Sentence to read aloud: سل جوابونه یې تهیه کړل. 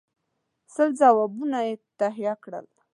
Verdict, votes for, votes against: accepted, 2, 0